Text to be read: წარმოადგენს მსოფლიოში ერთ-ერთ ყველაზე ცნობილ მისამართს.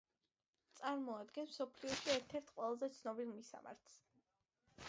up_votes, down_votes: 3, 0